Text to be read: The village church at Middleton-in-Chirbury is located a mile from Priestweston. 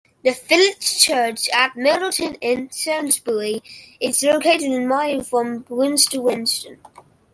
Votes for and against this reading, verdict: 1, 2, rejected